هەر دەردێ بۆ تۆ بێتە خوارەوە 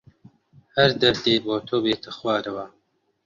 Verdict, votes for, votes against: accepted, 2, 0